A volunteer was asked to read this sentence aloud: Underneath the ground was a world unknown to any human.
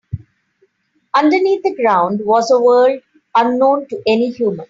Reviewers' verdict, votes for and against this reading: accepted, 3, 0